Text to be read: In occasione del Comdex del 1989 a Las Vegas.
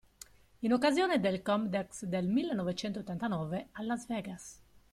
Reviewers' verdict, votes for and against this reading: rejected, 0, 2